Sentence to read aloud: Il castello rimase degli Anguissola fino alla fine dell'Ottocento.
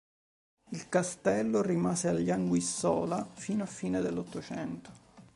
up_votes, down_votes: 1, 2